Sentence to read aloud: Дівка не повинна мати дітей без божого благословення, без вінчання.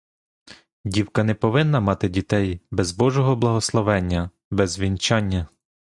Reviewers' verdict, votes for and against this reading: accepted, 2, 0